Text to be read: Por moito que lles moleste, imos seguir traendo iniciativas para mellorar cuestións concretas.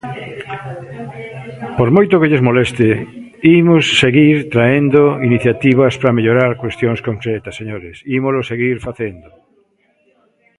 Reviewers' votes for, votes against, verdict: 0, 2, rejected